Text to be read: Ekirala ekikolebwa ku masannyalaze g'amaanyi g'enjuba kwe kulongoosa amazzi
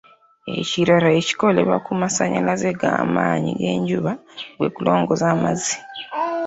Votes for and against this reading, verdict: 0, 2, rejected